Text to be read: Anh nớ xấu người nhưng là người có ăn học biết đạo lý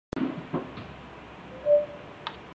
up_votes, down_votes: 0, 2